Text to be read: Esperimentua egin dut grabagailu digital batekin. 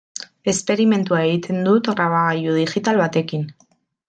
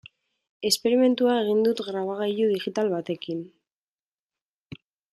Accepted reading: second